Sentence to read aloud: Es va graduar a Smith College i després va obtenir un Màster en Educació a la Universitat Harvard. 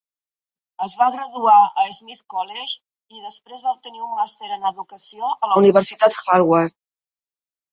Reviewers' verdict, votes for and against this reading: accepted, 2, 1